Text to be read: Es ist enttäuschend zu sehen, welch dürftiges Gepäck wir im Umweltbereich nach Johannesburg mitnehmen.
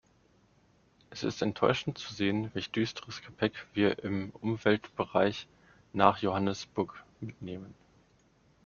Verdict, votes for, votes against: rejected, 0, 2